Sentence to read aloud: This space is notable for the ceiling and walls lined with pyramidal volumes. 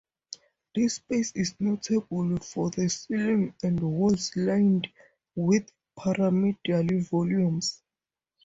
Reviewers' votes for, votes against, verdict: 2, 0, accepted